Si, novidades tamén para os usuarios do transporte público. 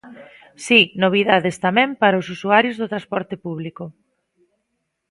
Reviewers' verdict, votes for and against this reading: accepted, 2, 0